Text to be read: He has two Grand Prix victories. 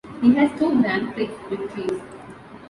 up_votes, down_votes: 0, 2